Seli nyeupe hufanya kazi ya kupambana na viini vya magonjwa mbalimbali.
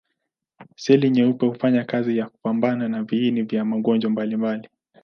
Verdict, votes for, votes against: accepted, 16, 2